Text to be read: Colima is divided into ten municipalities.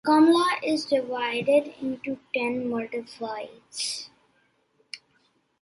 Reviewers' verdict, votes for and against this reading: rejected, 0, 2